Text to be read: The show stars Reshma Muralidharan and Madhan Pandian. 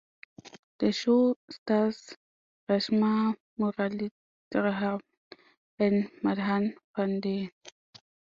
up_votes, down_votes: 0, 2